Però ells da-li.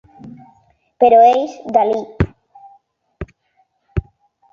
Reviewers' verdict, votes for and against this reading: accepted, 3, 2